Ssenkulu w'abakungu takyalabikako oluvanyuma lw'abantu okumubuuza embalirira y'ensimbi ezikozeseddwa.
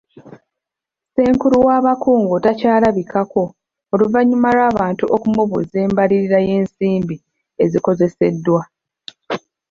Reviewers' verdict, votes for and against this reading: rejected, 1, 2